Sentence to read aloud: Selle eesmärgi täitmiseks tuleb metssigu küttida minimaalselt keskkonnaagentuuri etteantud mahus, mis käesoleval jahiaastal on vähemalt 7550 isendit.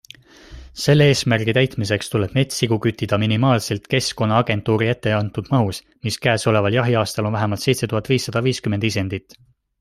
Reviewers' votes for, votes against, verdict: 0, 2, rejected